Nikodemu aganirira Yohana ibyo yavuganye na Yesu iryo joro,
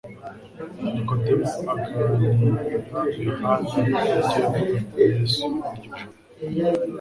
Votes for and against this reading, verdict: 2, 3, rejected